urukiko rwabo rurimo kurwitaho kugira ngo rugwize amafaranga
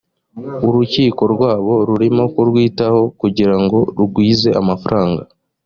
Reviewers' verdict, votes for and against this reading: accepted, 2, 0